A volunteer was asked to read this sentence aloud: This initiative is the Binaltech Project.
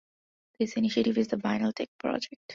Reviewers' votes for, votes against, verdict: 2, 1, accepted